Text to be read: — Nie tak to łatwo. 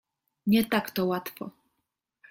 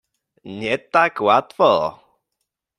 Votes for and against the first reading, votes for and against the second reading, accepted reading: 2, 0, 1, 3, first